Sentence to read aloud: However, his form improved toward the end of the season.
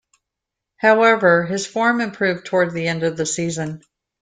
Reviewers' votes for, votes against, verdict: 2, 0, accepted